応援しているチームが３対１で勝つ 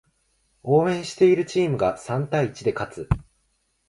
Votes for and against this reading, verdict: 0, 2, rejected